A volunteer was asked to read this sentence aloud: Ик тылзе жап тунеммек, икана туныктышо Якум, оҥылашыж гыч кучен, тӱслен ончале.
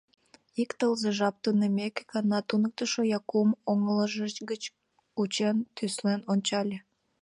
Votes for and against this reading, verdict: 0, 2, rejected